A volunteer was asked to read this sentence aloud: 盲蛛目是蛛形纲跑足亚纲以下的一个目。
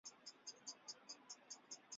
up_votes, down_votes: 0, 2